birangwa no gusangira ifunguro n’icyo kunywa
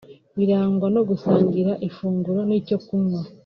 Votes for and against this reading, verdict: 2, 1, accepted